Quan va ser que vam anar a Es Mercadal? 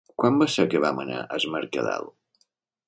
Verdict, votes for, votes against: accepted, 3, 0